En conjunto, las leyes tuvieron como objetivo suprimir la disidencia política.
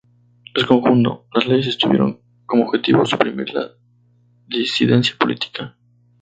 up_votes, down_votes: 2, 0